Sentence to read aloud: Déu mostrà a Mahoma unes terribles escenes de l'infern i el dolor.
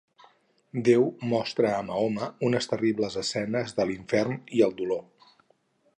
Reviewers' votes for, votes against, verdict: 2, 2, rejected